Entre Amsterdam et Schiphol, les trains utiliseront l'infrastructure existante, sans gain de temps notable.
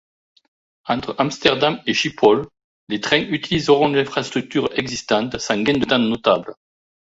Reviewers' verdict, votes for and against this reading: rejected, 1, 2